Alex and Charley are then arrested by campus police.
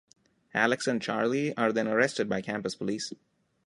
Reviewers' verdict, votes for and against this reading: accepted, 2, 0